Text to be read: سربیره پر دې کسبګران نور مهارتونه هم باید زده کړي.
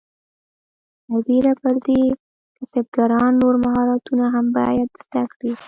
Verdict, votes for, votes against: accepted, 2, 0